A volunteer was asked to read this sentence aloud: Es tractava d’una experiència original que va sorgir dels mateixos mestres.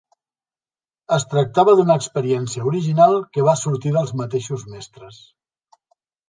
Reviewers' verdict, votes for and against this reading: accepted, 2, 0